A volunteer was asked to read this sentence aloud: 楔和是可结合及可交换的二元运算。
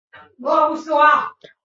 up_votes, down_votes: 1, 2